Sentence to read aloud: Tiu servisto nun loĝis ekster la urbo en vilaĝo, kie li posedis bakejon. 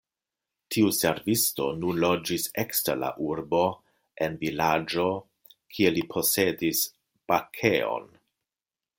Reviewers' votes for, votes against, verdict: 2, 0, accepted